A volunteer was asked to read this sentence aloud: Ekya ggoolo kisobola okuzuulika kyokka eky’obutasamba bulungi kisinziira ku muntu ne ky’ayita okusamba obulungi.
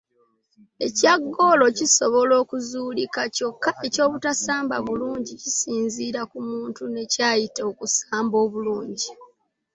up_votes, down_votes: 2, 0